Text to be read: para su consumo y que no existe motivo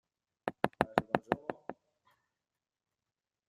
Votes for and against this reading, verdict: 0, 2, rejected